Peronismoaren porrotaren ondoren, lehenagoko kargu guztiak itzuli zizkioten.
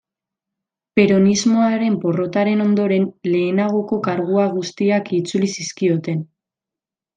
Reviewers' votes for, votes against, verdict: 0, 2, rejected